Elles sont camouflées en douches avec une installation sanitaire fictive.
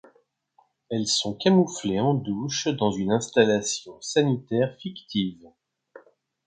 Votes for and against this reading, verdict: 1, 2, rejected